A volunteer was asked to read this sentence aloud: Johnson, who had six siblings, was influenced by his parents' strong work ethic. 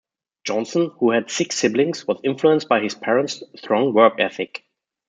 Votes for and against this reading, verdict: 0, 2, rejected